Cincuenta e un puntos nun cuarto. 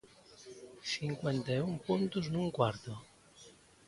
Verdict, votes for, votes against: accepted, 2, 0